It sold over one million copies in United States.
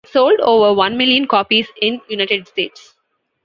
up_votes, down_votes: 1, 2